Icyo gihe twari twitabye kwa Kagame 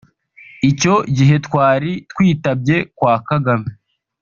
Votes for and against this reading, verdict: 1, 2, rejected